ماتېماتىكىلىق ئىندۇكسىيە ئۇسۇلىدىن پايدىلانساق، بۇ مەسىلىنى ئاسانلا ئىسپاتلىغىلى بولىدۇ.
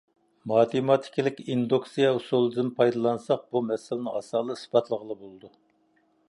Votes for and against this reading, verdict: 2, 0, accepted